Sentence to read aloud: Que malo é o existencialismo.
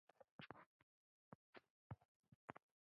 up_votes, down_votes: 0, 2